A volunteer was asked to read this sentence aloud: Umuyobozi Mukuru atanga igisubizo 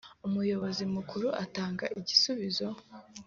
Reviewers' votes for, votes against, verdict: 4, 0, accepted